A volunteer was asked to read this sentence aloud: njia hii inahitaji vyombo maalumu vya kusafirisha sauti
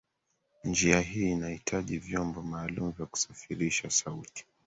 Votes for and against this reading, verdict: 3, 1, accepted